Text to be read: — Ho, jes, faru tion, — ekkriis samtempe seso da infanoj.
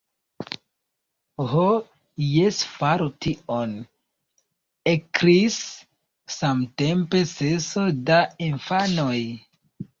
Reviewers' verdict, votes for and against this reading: rejected, 1, 2